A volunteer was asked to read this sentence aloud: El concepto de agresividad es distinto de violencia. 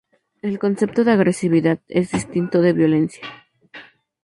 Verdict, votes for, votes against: accepted, 2, 0